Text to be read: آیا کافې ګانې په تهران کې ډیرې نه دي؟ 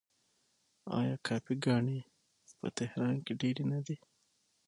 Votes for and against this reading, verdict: 6, 3, accepted